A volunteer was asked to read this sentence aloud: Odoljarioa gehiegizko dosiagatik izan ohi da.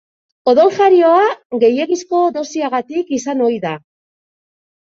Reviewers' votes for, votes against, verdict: 2, 0, accepted